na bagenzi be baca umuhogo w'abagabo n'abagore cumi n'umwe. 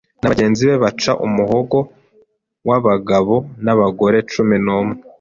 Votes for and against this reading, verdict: 2, 0, accepted